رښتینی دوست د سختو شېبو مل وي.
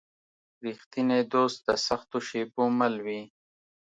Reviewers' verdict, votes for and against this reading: accepted, 2, 0